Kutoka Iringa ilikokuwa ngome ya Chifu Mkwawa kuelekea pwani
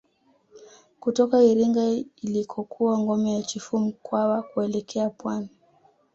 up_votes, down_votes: 2, 0